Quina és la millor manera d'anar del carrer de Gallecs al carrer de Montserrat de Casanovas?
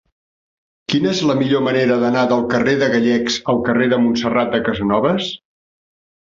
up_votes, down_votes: 3, 0